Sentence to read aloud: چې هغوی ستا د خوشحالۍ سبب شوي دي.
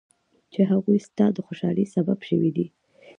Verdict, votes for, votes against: rejected, 1, 2